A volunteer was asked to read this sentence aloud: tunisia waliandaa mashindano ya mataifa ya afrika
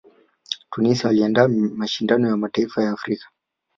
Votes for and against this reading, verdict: 2, 0, accepted